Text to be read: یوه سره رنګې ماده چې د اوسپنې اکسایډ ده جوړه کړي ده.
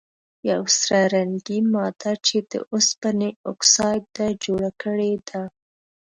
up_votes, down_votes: 1, 2